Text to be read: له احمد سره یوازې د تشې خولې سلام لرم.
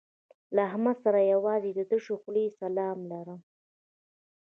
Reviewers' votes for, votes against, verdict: 1, 2, rejected